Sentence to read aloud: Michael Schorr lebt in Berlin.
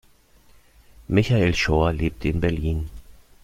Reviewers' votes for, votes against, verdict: 2, 0, accepted